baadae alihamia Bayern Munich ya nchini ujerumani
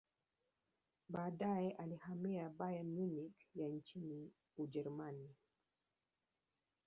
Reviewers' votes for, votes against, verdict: 3, 4, rejected